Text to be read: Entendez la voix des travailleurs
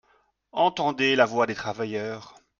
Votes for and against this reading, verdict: 3, 0, accepted